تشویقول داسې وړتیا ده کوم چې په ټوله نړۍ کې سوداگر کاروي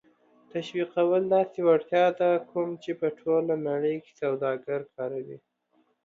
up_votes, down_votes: 2, 0